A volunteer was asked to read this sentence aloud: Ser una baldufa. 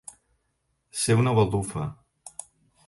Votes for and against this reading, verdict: 2, 0, accepted